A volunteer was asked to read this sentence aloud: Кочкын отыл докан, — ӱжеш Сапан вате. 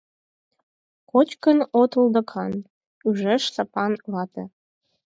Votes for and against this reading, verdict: 4, 2, accepted